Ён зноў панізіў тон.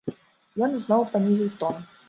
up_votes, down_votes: 1, 2